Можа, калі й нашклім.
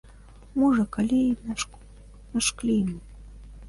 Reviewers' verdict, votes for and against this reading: rejected, 0, 2